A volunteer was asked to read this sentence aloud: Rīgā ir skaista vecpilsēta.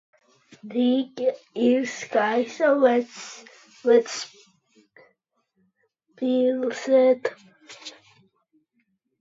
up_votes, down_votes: 0, 2